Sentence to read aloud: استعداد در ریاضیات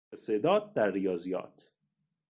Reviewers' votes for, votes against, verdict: 2, 0, accepted